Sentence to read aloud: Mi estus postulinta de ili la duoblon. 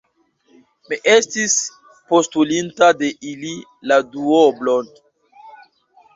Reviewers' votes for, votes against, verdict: 1, 2, rejected